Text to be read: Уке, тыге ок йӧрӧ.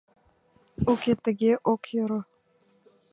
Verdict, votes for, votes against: rejected, 0, 2